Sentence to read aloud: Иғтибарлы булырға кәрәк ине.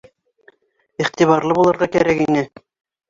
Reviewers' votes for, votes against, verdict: 2, 1, accepted